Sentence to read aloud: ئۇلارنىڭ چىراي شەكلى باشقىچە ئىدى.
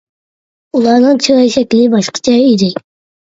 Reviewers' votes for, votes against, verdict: 2, 1, accepted